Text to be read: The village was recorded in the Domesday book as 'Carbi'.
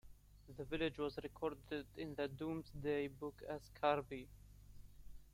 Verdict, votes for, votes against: accepted, 2, 1